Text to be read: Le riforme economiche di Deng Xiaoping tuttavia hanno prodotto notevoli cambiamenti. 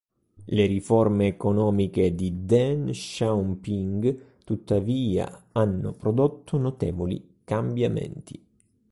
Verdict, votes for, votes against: rejected, 1, 2